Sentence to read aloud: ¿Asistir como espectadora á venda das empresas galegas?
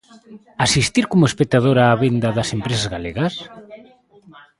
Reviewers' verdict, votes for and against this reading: rejected, 1, 2